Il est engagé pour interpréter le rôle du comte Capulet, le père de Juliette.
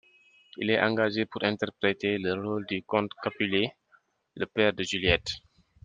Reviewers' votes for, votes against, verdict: 2, 0, accepted